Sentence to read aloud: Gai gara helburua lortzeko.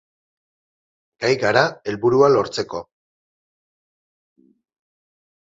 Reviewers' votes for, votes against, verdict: 0, 2, rejected